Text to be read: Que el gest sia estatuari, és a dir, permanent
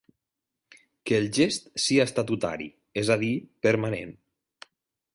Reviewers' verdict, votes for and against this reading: rejected, 1, 2